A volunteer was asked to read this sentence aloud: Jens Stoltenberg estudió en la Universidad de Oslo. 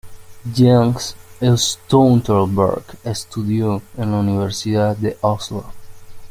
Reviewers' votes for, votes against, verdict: 0, 2, rejected